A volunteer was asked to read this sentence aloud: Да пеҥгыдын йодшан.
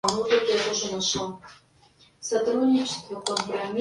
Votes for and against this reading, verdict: 0, 2, rejected